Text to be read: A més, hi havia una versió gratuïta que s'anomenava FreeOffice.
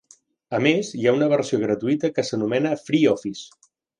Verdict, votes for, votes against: rejected, 0, 3